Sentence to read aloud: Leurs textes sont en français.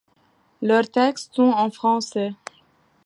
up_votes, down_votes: 2, 0